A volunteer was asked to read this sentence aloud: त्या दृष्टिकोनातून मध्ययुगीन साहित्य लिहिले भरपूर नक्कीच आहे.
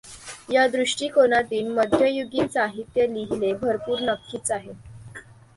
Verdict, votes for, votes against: rejected, 1, 2